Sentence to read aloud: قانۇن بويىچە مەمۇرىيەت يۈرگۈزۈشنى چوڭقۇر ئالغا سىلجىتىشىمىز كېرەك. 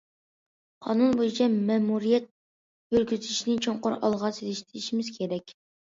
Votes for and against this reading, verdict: 2, 0, accepted